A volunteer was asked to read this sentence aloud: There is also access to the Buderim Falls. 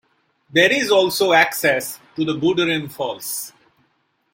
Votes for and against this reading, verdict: 2, 1, accepted